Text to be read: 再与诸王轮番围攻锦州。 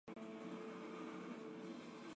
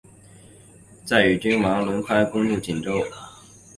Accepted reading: second